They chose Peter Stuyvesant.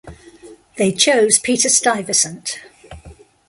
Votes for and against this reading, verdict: 1, 2, rejected